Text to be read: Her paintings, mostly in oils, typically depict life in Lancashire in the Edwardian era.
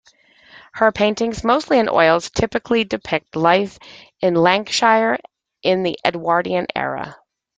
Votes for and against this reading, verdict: 2, 0, accepted